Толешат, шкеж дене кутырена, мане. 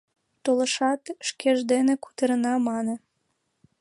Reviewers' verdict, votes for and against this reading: accepted, 2, 1